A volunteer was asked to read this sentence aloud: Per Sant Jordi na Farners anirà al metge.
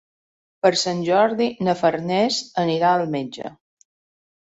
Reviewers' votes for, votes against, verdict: 3, 0, accepted